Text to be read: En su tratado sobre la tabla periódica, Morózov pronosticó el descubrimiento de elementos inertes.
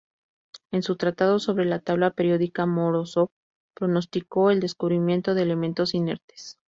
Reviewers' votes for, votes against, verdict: 2, 0, accepted